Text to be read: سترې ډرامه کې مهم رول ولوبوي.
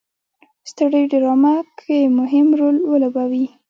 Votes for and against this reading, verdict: 1, 2, rejected